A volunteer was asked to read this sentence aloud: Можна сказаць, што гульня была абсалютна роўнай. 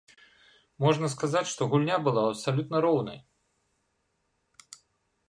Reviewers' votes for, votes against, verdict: 2, 1, accepted